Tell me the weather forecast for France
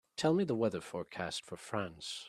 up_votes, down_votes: 4, 0